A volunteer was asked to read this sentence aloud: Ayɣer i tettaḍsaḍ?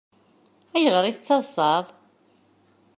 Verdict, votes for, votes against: accepted, 2, 0